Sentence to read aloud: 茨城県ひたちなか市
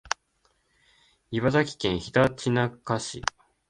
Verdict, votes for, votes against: accepted, 2, 0